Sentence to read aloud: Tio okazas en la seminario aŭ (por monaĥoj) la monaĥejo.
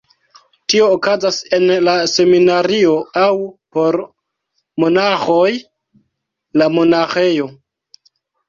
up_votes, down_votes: 0, 2